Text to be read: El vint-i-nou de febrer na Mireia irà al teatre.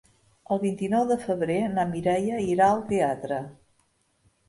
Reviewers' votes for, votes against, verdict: 3, 0, accepted